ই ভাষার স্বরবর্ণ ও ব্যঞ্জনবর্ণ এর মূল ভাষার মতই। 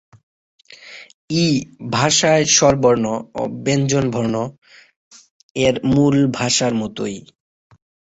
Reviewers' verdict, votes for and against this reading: rejected, 0, 6